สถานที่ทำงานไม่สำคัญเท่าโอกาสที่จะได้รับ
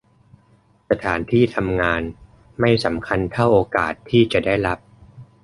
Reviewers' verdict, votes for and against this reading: accepted, 2, 0